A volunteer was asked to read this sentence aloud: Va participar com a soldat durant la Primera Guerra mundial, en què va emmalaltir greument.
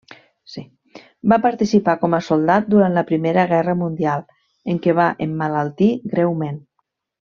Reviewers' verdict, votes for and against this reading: rejected, 1, 2